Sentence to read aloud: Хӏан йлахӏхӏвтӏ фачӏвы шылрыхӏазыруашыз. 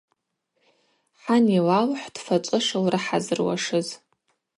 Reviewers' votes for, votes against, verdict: 2, 2, rejected